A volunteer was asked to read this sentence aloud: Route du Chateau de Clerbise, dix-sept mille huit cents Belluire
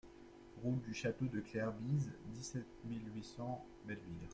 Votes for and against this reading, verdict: 2, 1, accepted